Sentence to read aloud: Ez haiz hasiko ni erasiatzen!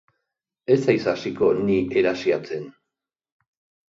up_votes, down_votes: 3, 0